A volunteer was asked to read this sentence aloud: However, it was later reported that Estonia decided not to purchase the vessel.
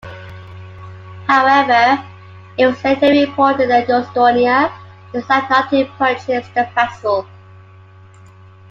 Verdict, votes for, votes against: rejected, 1, 2